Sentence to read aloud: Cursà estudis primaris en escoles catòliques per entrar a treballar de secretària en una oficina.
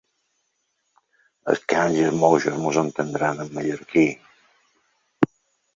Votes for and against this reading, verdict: 1, 2, rejected